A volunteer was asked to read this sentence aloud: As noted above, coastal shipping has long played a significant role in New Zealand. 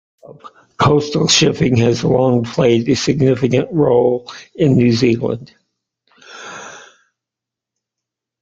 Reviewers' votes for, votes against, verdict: 0, 2, rejected